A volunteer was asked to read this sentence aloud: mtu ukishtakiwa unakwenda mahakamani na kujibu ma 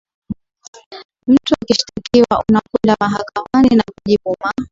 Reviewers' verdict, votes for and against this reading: accepted, 2, 0